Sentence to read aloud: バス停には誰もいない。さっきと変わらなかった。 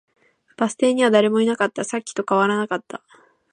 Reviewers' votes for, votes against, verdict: 1, 2, rejected